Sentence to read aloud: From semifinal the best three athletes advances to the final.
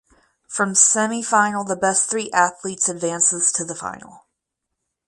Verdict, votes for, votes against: accepted, 4, 0